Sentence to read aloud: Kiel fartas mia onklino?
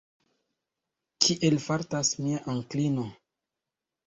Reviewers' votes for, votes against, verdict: 2, 0, accepted